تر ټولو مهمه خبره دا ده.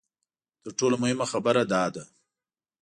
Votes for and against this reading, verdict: 1, 2, rejected